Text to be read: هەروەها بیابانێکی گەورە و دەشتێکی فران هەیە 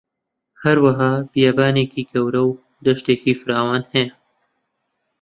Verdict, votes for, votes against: rejected, 0, 2